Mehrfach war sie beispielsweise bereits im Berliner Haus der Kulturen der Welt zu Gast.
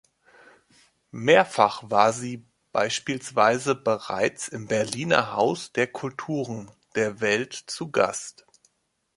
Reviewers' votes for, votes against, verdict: 2, 0, accepted